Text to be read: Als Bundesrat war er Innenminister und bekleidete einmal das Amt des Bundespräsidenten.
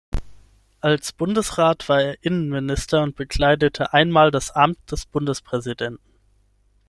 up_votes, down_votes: 6, 0